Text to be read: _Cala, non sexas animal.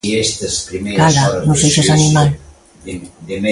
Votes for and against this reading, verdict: 0, 2, rejected